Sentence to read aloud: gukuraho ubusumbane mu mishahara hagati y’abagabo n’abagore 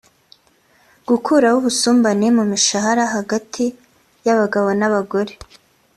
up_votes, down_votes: 3, 0